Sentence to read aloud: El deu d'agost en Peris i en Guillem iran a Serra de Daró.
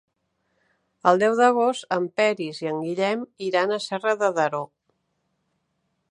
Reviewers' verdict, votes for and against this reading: accepted, 2, 0